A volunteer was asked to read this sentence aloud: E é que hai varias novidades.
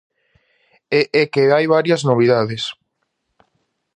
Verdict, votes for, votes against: accepted, 2, 0